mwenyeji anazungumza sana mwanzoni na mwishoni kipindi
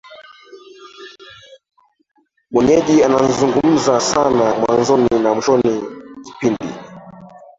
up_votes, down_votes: 0, 2